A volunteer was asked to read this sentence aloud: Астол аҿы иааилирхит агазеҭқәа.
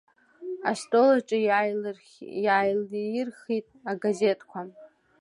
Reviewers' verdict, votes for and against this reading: rejected, 1, 2